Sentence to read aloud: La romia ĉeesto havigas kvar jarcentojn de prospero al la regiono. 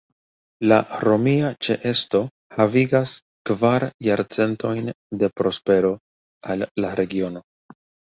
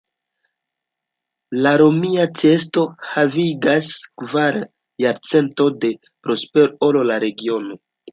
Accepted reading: first